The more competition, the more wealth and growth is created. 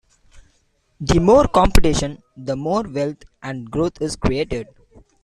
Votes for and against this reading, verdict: 2, 1, accepted